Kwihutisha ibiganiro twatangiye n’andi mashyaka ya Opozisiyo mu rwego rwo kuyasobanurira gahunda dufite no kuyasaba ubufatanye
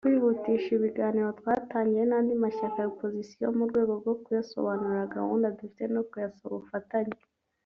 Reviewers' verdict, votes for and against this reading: accepted, 2, 0